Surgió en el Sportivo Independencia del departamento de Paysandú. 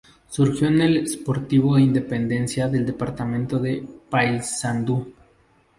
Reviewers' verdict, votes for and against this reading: accepted, 2, 0